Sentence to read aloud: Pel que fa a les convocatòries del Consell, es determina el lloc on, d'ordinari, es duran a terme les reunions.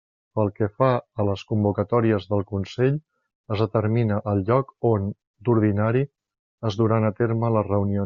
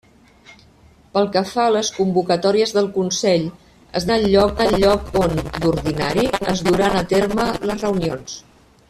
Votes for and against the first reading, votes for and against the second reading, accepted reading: 2, 1, 0, 3, first